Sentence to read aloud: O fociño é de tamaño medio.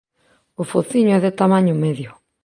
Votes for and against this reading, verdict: 2, 0, accepted